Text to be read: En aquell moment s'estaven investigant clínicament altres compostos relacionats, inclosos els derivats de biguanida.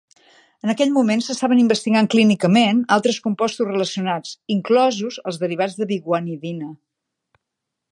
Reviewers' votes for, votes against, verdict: 1, 2, rejected